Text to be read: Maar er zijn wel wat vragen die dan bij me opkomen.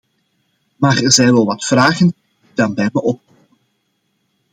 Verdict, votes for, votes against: rejected, 0, 2